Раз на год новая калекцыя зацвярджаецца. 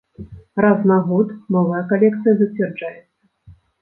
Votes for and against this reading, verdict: 1, 2, rejected